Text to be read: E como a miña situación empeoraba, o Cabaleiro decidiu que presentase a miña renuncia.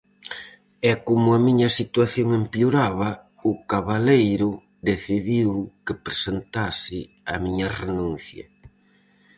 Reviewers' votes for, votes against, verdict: 4, 0, accepted